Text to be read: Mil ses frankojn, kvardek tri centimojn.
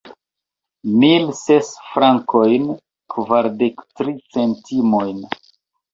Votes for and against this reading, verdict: 1, 2, rejected